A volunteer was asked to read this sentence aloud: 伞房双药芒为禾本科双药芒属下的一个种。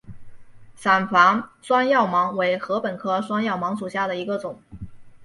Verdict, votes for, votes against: rejected, 0, 2